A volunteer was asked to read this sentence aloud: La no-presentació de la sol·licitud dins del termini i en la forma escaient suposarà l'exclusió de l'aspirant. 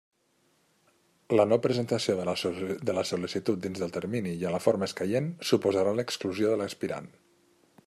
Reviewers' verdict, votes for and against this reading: rejected, 0, 2